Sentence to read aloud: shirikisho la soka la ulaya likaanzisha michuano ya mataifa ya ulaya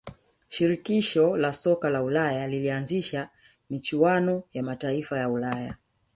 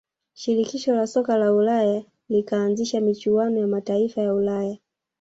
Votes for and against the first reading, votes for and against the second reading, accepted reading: 1, 2, 2, 0, second